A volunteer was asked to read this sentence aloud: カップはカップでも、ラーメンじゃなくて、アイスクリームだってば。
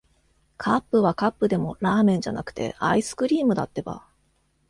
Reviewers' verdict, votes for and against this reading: accepted, 2, 0